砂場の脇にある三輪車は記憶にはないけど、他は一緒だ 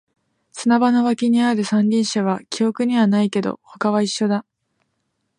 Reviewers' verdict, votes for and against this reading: accepted, 2, 0